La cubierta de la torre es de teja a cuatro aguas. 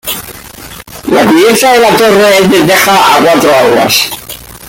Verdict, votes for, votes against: rejected, 0, 2